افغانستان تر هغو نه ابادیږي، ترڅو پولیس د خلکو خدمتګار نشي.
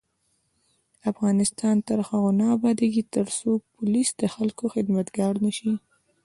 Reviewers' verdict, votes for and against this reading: accepted, 2, 0